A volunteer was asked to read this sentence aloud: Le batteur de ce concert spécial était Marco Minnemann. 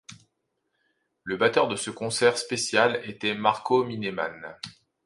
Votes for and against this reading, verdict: 2, 0, accepted